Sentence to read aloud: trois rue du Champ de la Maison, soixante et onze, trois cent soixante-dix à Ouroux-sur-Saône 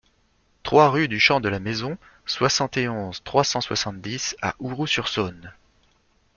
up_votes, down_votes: 2, 0